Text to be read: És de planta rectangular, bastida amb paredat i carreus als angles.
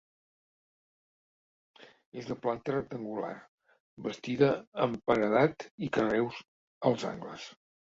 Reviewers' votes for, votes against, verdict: 1, 2, rejected